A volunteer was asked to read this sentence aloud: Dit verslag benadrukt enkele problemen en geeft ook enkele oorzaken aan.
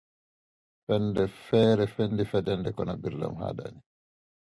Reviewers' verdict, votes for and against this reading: rejected, 0, 2